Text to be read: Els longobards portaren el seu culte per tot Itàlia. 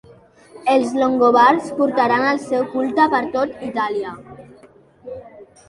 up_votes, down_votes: 3, 0